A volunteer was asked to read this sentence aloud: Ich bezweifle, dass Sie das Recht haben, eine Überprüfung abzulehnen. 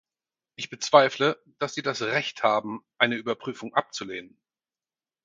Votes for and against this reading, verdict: 4, 0, accepted